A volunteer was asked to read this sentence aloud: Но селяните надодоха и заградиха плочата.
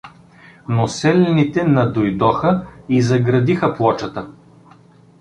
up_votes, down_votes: 1, 2